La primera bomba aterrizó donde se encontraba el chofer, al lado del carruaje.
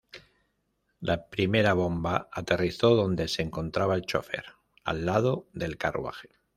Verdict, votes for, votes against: accepted, 2, 0